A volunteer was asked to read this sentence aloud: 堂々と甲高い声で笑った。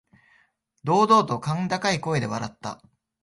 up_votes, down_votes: 2, 0